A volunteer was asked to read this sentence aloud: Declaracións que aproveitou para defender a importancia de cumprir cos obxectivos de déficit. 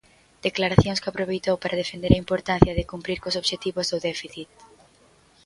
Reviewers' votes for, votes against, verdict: 0, 2, rejected